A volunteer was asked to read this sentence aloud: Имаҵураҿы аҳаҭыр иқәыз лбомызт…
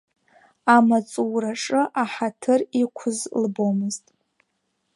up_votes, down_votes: 3, 7